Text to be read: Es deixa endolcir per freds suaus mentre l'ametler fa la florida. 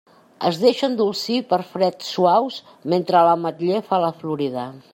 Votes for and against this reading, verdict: 2, 1, accepted